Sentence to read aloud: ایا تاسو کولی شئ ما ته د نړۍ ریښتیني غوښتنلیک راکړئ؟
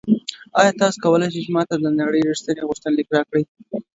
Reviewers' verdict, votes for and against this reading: accepted, 2, 1